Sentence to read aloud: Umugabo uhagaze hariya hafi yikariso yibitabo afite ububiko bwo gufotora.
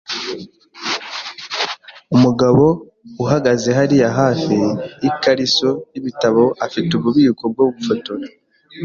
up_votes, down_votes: 2, 0